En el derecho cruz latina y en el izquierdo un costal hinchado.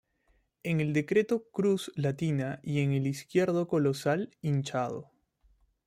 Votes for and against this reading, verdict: 0, 2, rejected